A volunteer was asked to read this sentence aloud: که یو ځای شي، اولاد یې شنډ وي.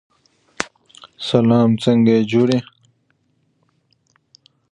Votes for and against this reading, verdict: 0, 2, rejected